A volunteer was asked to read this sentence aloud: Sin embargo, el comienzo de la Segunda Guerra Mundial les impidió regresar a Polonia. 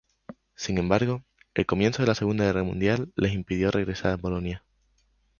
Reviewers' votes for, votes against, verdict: 6, 0, accepted